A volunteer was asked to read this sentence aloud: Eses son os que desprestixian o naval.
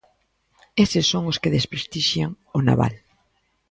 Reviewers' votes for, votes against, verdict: 2, 1, accepted